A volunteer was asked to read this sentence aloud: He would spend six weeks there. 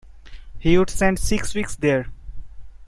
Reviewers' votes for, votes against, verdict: 2, 0, accepted